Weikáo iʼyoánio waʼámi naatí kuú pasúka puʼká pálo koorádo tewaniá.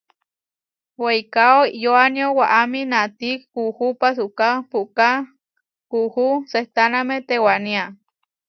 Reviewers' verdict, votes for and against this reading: rejected, 0, 2